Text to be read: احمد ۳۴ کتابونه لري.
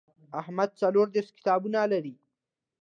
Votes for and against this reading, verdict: 0, 2, rejected